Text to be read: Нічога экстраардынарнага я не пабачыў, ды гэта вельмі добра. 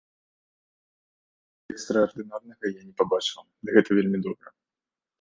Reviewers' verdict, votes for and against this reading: rejected, 0, 2